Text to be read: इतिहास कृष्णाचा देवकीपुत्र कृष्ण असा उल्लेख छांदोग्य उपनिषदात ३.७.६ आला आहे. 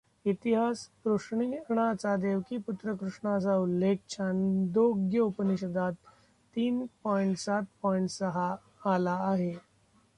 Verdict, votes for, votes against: rejected, 0, 2